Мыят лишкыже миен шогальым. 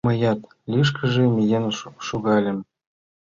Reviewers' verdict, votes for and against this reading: accepted, 2, 0